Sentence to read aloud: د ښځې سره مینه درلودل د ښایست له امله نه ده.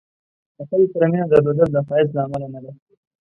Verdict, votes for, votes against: rejected, 1, 2